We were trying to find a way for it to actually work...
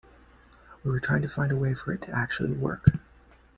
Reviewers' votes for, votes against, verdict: 2, 0, accepted